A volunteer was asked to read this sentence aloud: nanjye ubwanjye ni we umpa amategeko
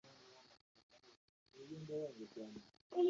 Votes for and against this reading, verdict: 0, 2, rejected